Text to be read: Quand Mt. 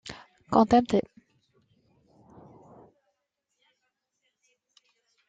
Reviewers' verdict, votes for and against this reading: rejected, 0, 2